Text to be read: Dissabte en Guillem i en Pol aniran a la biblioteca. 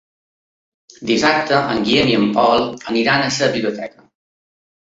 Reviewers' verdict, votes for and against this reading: rejected, 1, 2